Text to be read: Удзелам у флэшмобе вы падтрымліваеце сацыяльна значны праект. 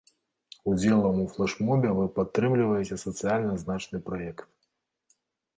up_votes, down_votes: 1, 2